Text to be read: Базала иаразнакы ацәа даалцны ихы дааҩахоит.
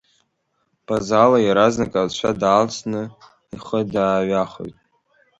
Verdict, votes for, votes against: accepted, 3, 0